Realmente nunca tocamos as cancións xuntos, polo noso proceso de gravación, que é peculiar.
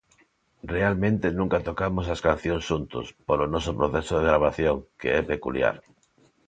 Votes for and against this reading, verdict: 2, 0, accepted